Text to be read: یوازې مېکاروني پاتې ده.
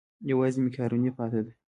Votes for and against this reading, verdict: 2, 0, accepted